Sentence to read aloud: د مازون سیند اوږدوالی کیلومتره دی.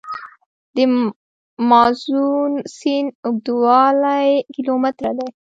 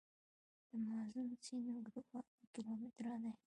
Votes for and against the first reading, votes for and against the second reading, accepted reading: 0, 2, 2, 0, second